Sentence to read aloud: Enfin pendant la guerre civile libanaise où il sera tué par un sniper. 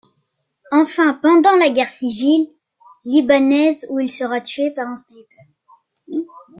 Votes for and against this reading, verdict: 2, 1, accepted